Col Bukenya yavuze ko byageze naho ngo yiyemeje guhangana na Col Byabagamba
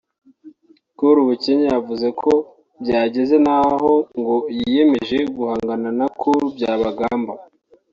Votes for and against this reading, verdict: 1, 2, rejected